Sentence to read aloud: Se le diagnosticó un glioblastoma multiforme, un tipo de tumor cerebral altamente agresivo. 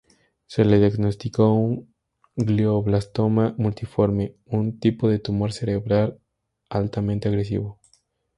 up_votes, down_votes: 2, 0